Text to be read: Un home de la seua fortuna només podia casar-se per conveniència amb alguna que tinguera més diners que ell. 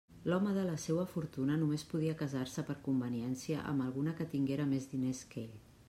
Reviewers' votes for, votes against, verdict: 1, 2, rejected